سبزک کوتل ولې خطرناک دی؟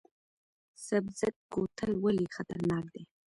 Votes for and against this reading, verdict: 1, 2, rejected